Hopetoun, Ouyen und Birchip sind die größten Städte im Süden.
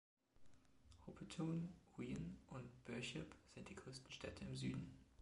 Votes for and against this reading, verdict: 1, 2, rejected